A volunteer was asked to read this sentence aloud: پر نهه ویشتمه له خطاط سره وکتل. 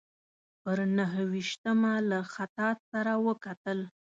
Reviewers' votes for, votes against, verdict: 2, 0, accepted